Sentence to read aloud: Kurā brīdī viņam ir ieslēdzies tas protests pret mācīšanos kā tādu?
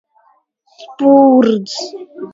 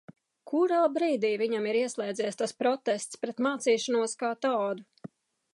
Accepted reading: second